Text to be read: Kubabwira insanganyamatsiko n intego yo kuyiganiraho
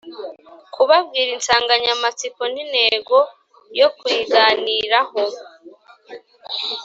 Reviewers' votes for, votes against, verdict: 2, 0, accepted